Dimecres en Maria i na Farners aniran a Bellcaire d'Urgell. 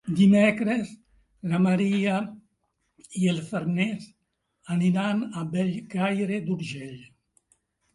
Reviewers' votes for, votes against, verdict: 1, 2, rejected